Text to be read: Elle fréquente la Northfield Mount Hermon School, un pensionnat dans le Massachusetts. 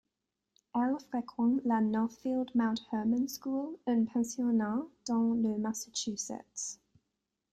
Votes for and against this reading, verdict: 2, 0, accepted